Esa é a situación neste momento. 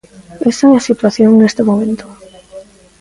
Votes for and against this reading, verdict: 2, 0, accepted